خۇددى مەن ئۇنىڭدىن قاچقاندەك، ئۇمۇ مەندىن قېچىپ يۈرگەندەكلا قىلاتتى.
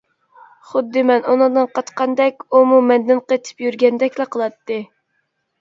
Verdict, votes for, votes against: accepted, 2, 0